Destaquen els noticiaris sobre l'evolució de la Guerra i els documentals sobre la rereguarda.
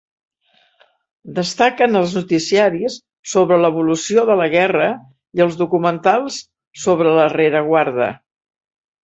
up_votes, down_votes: 2, 0